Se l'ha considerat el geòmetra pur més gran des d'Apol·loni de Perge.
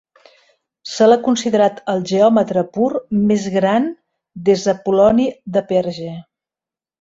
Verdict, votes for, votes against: accepted, 2, 0